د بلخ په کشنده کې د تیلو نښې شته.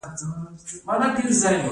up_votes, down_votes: 0, 2